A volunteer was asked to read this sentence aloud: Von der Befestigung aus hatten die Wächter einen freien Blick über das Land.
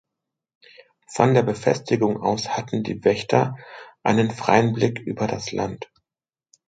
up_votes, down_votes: 2, 0